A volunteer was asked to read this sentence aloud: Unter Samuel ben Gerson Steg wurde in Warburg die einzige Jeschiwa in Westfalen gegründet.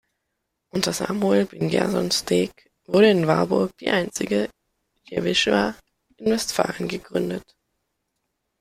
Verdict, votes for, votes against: rejected, 1, 2